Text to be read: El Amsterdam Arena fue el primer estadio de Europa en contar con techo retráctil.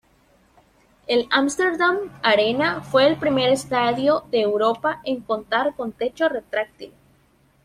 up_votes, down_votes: 2, 0